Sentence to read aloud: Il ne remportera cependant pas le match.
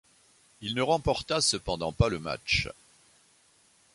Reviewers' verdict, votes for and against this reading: rejected, 0, 2